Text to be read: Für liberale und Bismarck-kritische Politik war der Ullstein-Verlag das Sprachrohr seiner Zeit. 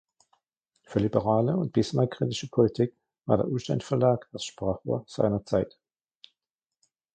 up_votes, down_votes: 2, 1